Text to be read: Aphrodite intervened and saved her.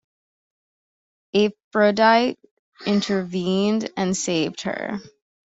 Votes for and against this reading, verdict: 1, 2, rejected